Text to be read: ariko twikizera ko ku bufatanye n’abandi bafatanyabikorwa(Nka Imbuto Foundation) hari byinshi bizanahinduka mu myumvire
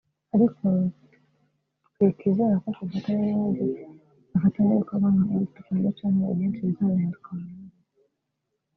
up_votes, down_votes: 0, 2